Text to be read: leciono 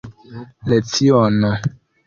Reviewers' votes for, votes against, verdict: 0, 2, rejected